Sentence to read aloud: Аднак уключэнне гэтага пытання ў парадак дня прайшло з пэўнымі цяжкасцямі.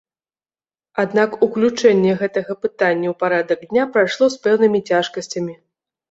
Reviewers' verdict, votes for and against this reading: accepted, 2, 1